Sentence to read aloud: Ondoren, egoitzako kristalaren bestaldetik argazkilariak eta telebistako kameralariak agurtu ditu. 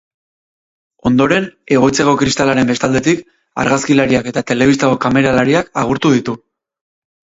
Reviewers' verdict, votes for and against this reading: rejected, 2, 2